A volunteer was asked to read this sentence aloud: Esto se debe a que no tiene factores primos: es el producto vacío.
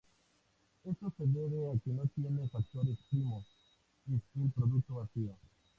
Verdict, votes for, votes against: accepted, 2, 0